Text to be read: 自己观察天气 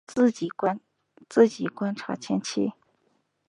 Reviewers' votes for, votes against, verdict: 0, 7, rejected